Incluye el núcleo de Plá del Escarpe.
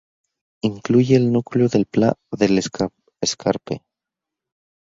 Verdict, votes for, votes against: rejected, 2, 4